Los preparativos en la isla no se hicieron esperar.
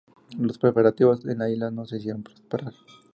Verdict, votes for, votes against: accepted, 2, 0